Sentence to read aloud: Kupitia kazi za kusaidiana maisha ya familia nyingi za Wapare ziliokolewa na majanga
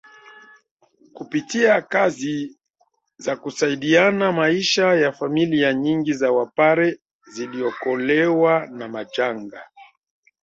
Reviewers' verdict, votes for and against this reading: accepted, 2, 1